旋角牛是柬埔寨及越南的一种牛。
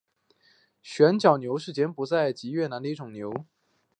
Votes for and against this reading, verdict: 3, 1, accepted